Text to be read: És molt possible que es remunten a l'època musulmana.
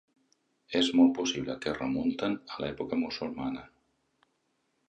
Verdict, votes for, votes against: accepted, 2, 0